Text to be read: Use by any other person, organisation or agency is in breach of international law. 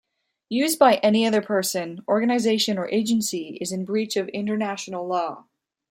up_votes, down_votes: 2, 0